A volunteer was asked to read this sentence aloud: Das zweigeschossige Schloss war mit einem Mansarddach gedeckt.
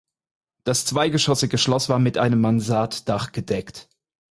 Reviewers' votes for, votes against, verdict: 4, 0, accepted